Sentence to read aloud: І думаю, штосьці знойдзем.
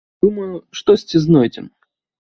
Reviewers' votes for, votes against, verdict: 0, 2, rejected